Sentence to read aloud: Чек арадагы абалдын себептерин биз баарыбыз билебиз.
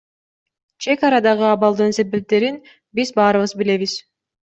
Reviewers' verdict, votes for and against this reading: accepted, 2, 1